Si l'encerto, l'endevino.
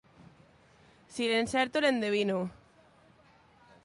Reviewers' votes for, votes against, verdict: 2, 0, accepted